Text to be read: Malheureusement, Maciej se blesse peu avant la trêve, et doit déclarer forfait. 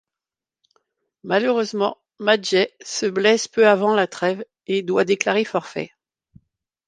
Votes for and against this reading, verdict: 2, 0, accepted